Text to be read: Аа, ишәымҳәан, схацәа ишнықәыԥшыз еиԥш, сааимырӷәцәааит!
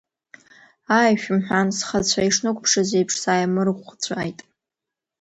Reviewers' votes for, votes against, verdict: 2, 1, accepted